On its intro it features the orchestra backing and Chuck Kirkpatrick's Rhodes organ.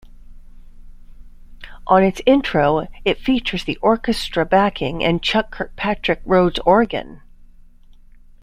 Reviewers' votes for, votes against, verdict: 2, 1, accepted